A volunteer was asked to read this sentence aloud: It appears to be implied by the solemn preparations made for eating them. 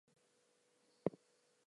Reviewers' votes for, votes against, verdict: 0, 4, rejected